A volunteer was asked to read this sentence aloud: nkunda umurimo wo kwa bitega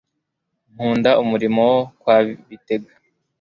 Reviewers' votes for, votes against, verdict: 0, 2, rejected